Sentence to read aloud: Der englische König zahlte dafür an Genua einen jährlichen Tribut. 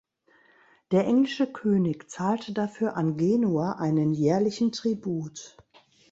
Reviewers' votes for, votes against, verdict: 3, 0, accepted